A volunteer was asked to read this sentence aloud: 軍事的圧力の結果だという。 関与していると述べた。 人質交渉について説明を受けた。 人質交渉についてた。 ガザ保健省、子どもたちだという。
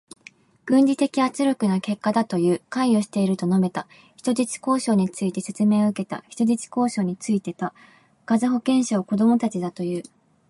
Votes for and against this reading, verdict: 2, 0, accepted